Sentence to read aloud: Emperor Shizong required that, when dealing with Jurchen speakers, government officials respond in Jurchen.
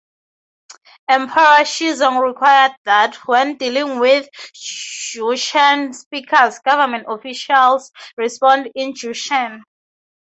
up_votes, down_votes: 0, 2